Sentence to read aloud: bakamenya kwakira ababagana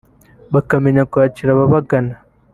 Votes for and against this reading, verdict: 3, 0, accepted